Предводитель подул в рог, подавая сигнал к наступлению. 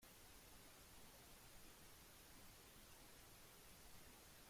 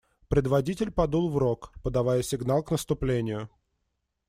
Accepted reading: second